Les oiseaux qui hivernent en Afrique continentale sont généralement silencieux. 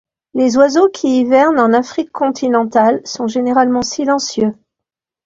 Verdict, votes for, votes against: accepted, 2, 0